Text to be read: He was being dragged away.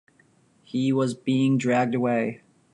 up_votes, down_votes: 2, 0